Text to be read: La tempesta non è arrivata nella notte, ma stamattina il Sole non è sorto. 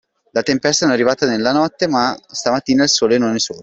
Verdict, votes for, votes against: accepted, 2, 1